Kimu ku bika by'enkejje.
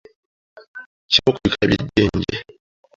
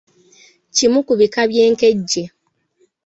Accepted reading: second